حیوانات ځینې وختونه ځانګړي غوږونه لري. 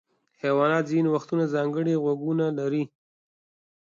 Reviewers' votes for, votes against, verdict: 2, 0, accepted